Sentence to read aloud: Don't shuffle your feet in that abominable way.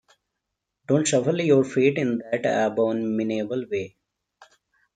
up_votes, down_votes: 2, 0